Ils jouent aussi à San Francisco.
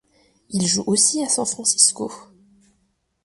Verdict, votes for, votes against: accepted, 2, 0